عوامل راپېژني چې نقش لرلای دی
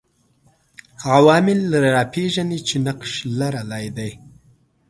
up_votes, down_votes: 2, 0